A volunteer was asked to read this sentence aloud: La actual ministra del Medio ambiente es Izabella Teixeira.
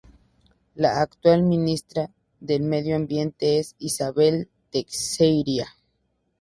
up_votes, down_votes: 2, 0